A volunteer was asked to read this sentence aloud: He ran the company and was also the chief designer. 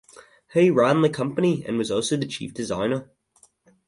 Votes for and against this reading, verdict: 2, 0, accepted